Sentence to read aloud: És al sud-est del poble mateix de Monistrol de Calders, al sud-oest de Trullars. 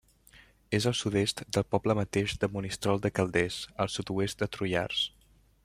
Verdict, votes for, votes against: accepted, 3, 0